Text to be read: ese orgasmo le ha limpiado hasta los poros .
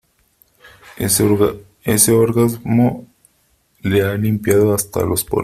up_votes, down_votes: 0, 3